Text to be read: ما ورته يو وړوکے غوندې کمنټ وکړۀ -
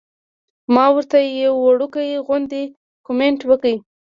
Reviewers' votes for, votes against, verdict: 0, 2, rejected